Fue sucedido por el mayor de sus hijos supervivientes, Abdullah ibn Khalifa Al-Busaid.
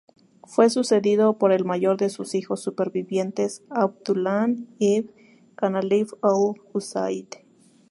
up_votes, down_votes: 0, 2